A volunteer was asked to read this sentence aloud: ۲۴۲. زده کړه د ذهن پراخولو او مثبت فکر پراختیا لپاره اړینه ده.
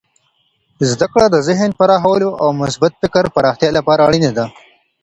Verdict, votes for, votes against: rejected, 0, 2